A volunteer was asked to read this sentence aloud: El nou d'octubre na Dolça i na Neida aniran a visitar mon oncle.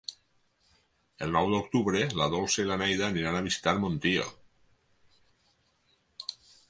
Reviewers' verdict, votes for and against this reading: rejected, 0, 4